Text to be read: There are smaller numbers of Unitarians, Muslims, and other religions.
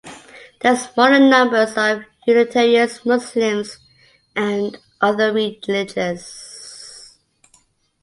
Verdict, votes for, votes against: rejected, 0, 2